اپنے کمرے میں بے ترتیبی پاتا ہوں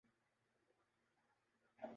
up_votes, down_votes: 0, 2